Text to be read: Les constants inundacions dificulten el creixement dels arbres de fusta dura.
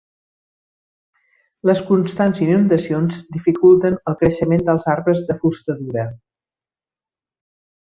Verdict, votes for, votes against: rejected, 1, 2